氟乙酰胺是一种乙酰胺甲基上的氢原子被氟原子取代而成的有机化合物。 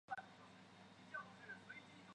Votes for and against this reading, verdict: 3, 4, rejected